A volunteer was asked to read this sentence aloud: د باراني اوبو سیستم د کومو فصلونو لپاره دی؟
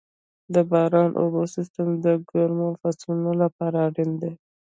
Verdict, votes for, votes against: accepted, 2, 1